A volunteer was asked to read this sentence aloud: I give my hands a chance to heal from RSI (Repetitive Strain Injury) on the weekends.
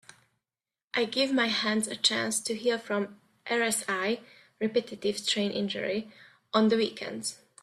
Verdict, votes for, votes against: accepted, 2, 0